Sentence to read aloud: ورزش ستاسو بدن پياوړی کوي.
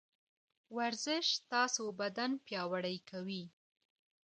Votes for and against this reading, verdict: 0, 2, rejected